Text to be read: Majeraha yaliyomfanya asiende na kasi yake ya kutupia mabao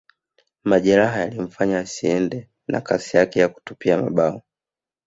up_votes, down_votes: 1, 2